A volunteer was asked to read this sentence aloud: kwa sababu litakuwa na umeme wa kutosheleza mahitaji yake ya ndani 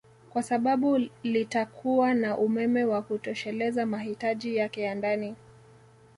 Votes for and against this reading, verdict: 2, 1, accepted